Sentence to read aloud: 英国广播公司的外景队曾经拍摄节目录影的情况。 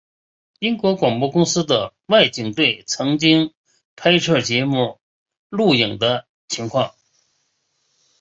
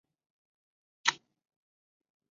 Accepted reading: first